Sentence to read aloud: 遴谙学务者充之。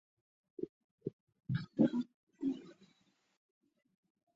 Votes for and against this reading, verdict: 0, 2, rejected